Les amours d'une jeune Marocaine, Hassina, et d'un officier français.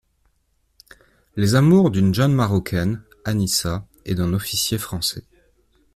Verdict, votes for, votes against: rejected, 0, 2